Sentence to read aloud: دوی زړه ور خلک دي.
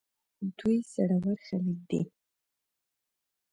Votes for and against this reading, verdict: 2, 0, accepted